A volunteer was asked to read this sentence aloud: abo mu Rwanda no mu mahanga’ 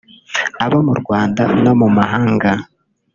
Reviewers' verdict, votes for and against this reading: accepted, 2, 0